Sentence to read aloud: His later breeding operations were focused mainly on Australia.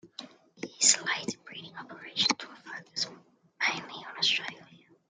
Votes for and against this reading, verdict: 0, 2, rejected